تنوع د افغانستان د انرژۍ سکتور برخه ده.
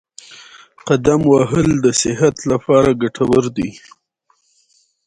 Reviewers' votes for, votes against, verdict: 2, 0, accepted